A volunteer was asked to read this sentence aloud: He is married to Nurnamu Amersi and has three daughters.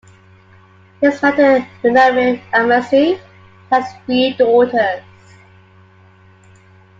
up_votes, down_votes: 0, 2